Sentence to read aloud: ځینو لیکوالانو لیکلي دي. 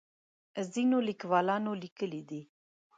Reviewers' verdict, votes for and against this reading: accepted, 2, 0